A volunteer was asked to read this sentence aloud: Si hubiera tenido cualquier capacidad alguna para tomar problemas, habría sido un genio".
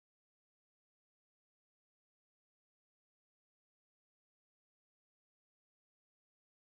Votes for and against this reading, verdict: 0, 2, rejected